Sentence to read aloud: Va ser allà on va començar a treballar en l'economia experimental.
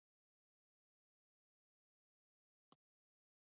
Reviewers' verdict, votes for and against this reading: rejected, 0, 2